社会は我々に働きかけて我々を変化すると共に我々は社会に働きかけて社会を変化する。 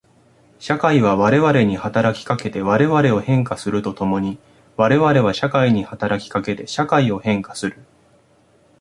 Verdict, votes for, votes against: accepted, 2, 1